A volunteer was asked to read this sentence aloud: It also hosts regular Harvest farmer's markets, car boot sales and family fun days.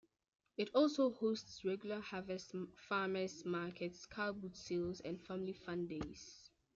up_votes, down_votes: 2, 1